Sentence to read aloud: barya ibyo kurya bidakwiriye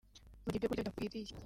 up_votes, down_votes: 0, 2